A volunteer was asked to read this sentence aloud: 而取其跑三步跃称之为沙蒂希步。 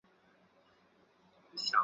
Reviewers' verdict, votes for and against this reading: rejected, 2, 3